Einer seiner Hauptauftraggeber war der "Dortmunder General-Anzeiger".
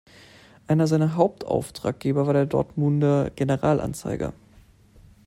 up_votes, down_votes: 2, 0